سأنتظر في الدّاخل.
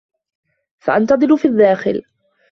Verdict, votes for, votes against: accepted, 2, 0